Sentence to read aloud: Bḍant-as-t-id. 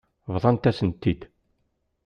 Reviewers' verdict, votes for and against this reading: rejected, 1, 2